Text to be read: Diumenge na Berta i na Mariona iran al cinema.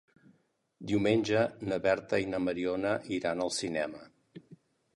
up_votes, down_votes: 3, 0